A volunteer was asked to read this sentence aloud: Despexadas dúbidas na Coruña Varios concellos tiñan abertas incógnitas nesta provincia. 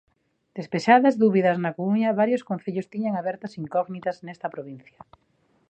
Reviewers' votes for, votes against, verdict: 0, 2, rejected